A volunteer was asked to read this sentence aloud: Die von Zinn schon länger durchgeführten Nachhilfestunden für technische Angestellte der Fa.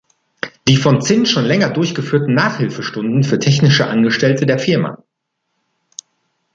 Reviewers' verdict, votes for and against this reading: rejected, 1, 2